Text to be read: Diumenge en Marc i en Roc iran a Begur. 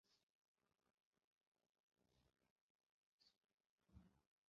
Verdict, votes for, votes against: rejected, 0, 4